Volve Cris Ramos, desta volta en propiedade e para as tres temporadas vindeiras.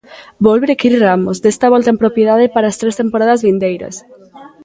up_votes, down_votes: 1, 2